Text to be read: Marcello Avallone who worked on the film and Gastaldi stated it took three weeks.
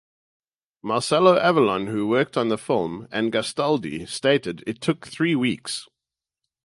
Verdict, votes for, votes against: accepted, 2, 0